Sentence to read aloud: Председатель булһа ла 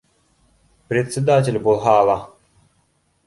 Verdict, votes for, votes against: accepted, 2, 0